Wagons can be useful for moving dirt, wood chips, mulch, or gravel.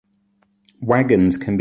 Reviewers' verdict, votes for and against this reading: rejected, 0, 2